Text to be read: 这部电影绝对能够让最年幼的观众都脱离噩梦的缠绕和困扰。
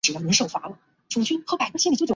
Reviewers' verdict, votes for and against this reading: rejected, 0, 6